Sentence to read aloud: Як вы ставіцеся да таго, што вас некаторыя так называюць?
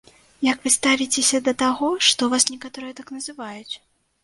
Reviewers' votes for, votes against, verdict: 2, 0, accepted